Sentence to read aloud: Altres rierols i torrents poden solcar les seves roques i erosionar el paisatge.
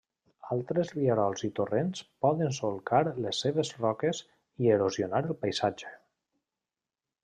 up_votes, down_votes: 2, 1